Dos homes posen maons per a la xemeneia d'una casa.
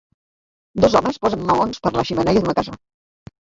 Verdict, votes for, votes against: rejected, 2, 3